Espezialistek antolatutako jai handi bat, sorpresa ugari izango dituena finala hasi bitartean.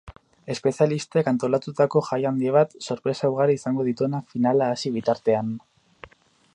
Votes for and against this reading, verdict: 8, 0, accepted